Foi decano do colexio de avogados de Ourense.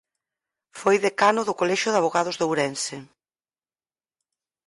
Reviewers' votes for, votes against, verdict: 4, 0, accepted